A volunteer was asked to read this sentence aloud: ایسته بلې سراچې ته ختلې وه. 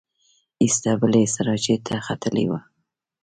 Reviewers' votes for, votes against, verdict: 2, 0, accepted